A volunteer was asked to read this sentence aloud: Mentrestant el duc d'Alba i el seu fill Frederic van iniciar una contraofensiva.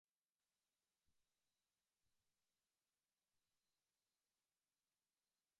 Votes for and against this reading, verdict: 0, 2, rejected